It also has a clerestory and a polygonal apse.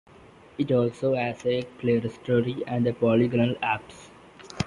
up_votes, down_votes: 5, 3